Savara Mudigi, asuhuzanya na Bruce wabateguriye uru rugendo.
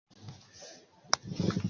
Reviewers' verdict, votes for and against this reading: rejected, 0, 2